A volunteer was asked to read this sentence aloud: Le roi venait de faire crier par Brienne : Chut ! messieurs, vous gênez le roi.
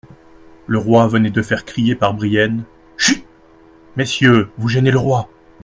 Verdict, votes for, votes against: accepted, 2, 0